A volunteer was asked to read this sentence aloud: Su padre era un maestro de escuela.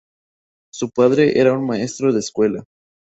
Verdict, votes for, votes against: accepted, 2, 0